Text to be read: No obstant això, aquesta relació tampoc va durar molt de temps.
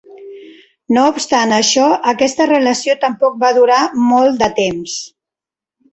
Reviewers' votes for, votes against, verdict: 3, 0, accepted